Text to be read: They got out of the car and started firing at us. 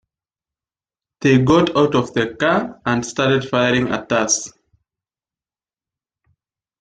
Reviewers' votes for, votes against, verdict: 1, 2, rejected